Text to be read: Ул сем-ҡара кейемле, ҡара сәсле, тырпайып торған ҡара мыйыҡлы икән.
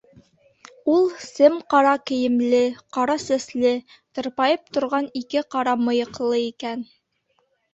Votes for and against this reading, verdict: 0, 2, rejected